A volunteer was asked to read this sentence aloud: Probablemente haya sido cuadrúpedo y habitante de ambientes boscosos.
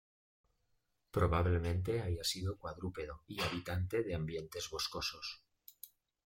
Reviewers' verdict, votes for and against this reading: accepted, 2, 0